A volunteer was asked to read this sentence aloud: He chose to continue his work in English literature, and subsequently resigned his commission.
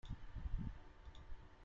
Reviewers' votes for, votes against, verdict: 0, 2, rejected